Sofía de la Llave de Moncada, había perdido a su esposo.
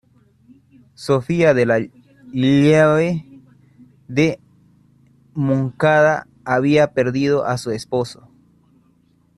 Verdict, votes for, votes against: rejected, 0, 2